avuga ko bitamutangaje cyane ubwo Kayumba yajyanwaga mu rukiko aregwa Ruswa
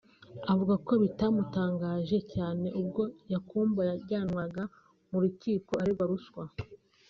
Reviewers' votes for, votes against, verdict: 0, 2, rejected